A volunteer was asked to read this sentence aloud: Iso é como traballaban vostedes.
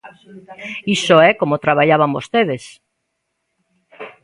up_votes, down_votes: 0, 2